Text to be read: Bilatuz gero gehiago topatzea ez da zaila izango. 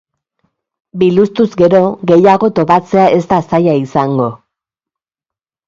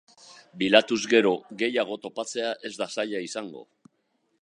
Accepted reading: second